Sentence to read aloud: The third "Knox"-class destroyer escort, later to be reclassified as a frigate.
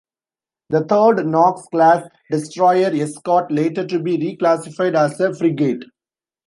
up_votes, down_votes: 0, 2